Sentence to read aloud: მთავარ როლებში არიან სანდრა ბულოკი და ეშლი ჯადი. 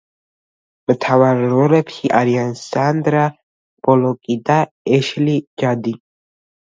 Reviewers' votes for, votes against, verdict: 1, 2, rejected